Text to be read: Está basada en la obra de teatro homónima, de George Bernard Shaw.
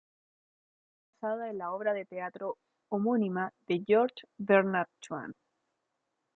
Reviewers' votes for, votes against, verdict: 0, 2, rejected